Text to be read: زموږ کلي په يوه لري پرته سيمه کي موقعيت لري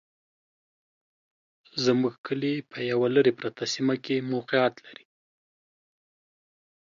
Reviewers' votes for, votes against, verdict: 2, 1, accepted